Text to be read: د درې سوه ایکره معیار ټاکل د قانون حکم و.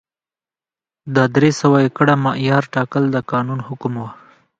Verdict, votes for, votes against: accepted, 2, 0